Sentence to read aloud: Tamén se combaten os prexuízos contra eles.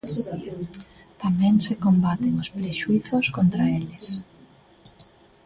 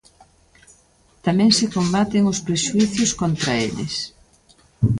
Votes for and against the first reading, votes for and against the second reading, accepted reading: 2, 0, 0, 2, first